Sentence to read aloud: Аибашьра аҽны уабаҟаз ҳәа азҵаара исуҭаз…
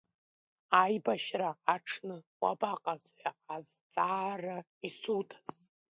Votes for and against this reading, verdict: 2, 0, accepted